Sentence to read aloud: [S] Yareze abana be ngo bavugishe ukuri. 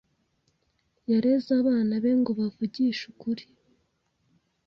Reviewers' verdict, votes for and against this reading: accepted, 2, 0